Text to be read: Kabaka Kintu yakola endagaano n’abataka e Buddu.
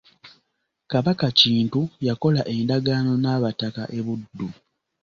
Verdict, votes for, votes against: accepted, 2, 0